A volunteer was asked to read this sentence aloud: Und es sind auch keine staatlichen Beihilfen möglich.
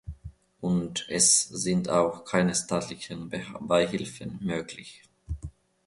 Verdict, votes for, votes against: rejected, 1, 2